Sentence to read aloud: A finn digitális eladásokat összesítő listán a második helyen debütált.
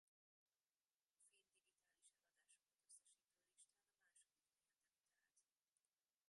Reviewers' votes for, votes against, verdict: 0, 2, rejected